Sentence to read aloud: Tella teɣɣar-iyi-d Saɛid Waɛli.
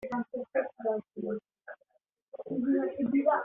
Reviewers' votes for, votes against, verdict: 0, 2, rejected